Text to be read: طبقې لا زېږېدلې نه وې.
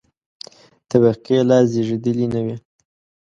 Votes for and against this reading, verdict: 2, 0, accepted